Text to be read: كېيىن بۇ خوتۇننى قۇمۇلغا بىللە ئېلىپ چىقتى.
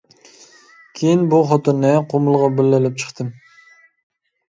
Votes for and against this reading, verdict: 1, 2, rejected